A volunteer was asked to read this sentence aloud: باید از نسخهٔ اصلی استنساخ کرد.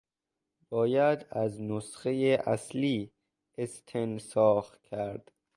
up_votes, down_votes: 2, 0